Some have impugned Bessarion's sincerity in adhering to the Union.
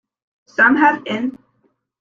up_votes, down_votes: 1, 2